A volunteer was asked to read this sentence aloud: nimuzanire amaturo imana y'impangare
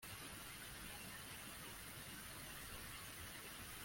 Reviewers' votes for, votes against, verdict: 0, 2, rejected